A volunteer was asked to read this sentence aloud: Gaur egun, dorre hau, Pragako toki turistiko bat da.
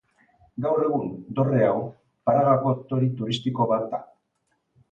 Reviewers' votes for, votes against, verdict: 2, 1, accepted